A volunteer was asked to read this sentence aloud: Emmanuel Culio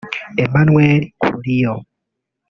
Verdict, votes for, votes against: rejected, 1, 2